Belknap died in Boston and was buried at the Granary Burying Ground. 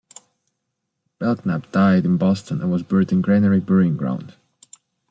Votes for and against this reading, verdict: 1, 2, rejected